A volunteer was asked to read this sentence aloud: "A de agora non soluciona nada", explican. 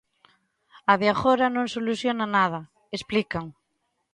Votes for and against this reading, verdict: 2, 0, accepted